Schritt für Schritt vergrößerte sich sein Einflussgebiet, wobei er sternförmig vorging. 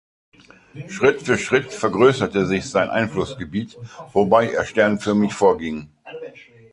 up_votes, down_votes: 2, 0